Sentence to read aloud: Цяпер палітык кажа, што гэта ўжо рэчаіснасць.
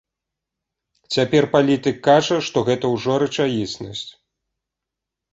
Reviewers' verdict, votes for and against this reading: accepted, 2, 0